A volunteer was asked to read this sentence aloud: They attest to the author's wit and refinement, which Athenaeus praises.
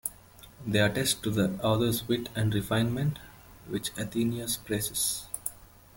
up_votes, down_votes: 2, 1